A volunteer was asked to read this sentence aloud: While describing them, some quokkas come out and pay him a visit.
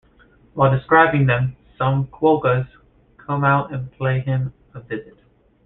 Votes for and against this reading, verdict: 0, 2, rejected